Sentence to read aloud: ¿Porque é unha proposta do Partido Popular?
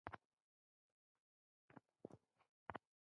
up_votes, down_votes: 1, 2